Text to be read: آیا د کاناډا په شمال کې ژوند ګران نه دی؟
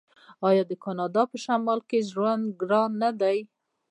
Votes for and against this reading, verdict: 2, 0, accepted